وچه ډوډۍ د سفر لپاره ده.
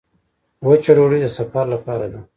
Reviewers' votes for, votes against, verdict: 3, 0, accepted